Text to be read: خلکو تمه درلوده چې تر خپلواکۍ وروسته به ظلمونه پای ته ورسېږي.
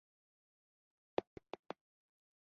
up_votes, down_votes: 0, 2